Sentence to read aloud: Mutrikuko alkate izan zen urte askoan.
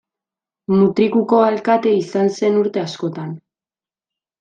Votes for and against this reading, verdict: 1, 2, rejected